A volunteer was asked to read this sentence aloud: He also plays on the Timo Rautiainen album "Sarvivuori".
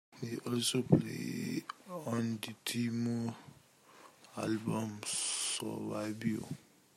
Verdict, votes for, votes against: rejected, 0, 2